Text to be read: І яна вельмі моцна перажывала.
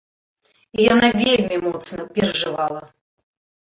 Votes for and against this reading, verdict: 0, 2, rejected